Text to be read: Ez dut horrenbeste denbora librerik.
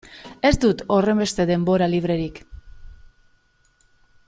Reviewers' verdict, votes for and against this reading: accepted, 2, 0